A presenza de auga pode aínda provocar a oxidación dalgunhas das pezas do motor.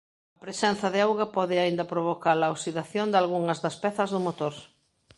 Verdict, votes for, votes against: rejected, 0, 2